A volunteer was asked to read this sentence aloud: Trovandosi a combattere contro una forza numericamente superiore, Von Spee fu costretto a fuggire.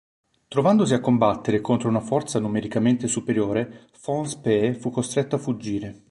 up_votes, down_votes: 2, 0